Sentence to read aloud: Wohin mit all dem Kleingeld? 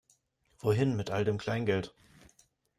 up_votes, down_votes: 2, 0